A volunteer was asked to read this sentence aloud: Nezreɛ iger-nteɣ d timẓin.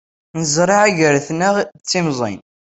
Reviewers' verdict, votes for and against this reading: rejected, 1, 2